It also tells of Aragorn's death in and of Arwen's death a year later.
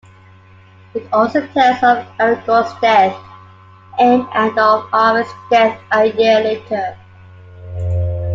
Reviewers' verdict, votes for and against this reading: accepted, 2, 1